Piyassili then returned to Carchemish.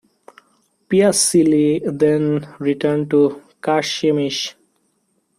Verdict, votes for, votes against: rejected, 1, 2